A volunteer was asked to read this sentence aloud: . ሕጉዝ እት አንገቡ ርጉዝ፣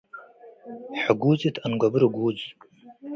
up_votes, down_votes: 2, 0